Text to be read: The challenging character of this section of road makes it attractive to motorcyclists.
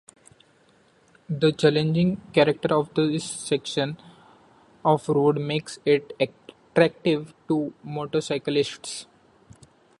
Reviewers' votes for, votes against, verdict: 2, 0, accepted